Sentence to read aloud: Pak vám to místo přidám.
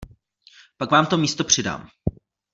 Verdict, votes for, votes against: accepted, 2, 0